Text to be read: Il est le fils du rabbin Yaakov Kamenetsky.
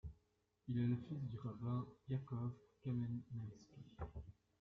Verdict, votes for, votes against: rejected, 0, 2